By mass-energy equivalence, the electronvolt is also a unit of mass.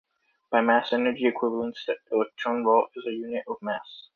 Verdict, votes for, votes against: rejected, 0, 2